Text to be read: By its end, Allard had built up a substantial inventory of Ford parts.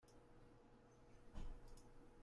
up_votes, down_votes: 0, 2